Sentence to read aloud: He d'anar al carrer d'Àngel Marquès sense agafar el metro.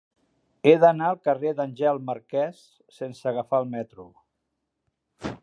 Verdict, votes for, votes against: rejected, 0, 2